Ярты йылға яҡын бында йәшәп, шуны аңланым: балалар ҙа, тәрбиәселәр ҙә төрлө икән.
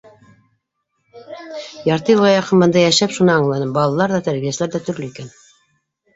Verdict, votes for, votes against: rejected, 1, 2